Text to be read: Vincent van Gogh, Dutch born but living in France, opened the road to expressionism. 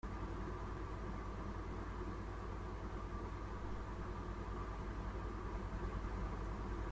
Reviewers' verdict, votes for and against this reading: rejected, 0, 2